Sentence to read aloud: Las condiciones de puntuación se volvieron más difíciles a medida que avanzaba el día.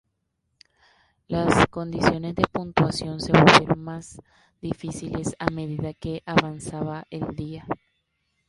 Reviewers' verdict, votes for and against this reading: rejected, 0, 2